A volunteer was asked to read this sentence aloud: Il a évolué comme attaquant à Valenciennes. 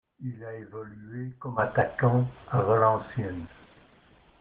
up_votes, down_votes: 1, 2